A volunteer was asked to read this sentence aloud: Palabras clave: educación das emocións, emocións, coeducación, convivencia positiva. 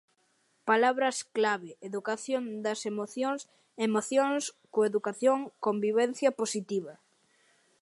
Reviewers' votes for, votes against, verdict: 2, 0, accepted